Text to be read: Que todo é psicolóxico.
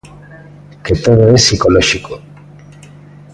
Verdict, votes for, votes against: rejected, 1, 2